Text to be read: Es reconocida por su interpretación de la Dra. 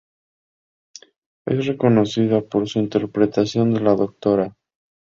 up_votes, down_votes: 2, 2